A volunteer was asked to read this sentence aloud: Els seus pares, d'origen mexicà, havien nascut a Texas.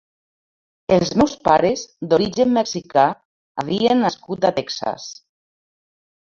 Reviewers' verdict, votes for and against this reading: rejected, 0, 2